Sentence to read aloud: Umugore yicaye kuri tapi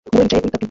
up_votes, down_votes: 0, 2